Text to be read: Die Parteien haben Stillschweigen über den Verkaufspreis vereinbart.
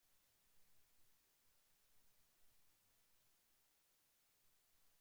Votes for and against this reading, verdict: 0, 2, rejected